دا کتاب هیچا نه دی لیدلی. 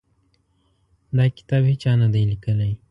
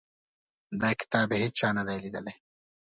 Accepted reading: second